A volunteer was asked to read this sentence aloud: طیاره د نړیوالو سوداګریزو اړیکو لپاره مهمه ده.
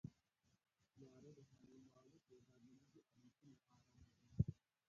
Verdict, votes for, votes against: rejected, 1, 2